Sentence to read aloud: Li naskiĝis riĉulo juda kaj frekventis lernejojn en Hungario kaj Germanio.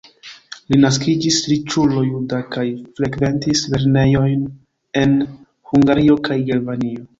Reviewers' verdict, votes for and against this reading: rejected, 1, 2